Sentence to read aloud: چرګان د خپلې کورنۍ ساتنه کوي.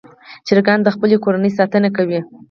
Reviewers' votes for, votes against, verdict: 2, 4, rejected